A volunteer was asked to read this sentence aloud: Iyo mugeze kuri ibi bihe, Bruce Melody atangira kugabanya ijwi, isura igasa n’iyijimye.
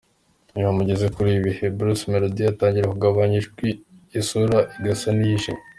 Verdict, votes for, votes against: accepted, 2, 1